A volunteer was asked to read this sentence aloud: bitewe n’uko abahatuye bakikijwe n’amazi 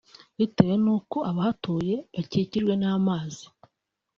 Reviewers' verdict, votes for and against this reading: accepted, 2, 0